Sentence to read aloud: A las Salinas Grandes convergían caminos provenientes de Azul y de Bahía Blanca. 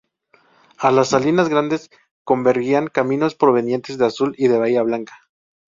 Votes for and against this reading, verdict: 2, 2, rejected